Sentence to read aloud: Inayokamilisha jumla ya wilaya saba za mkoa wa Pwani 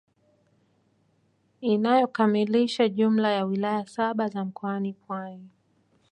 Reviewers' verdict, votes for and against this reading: accepted, 2, 1